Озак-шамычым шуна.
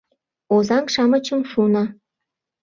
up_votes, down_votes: 0, 2